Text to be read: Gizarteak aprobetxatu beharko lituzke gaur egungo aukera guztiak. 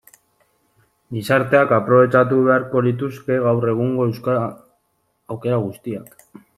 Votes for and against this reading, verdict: 0, 2, rejected